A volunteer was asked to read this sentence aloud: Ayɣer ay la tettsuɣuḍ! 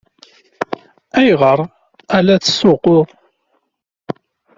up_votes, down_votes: 0, 2